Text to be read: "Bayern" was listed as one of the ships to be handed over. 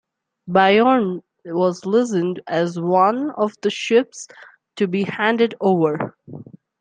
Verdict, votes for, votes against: rejected, 0, 2